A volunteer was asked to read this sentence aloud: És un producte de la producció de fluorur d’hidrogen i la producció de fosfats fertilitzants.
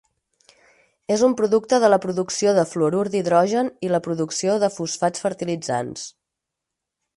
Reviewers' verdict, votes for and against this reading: accepted, 6, 0